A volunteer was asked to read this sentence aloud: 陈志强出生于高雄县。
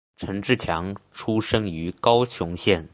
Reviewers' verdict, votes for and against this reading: accepted, 3, 0